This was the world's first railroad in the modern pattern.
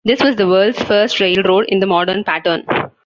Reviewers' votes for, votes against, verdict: 2, 0, accepted